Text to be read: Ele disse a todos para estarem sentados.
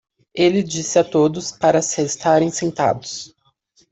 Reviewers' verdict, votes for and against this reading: rejected, 0, 2